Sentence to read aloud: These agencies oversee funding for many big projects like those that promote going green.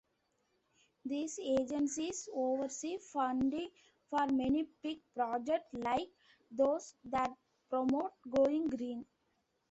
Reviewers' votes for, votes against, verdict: 2, 0, accepted